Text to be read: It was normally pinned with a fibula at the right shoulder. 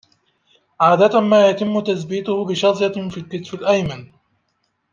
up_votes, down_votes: 0, 2